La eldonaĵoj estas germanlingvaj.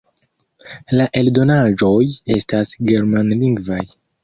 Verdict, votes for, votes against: rejected, 1, 2